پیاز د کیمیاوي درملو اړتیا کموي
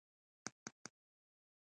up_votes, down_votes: 1, 2